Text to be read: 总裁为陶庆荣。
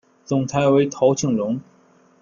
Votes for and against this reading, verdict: 2, 0, accepted